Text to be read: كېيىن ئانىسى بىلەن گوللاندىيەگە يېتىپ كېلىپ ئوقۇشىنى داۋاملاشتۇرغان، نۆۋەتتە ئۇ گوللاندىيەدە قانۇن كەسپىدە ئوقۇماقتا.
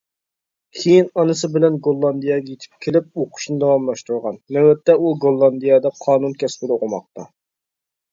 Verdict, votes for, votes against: rejected, 1, 2